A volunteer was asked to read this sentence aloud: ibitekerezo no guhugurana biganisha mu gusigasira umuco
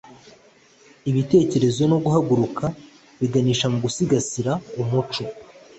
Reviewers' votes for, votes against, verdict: 2, 0, accepted